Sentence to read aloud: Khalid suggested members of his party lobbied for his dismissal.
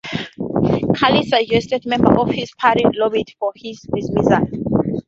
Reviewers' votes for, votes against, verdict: 2, 0, accepted